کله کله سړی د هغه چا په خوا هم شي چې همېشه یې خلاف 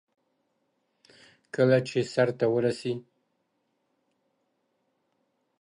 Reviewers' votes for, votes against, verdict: 0, 2, rejected